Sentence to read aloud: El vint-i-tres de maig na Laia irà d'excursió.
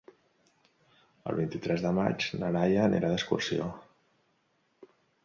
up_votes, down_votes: 0, 2